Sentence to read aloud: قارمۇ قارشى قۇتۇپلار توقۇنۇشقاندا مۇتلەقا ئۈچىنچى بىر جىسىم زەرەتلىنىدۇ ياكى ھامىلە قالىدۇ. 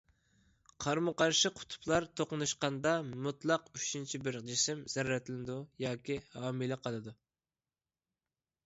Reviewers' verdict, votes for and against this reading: rejected, 1, 2